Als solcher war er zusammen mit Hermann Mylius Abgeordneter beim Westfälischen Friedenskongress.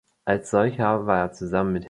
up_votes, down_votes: 1, 2